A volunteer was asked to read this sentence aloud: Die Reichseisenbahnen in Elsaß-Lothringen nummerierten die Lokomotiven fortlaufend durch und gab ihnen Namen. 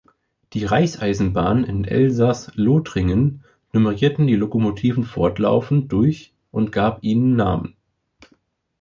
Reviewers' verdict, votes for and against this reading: accepted, 3, 0